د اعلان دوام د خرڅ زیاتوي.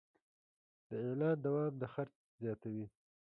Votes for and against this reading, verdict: 0, 2, rejected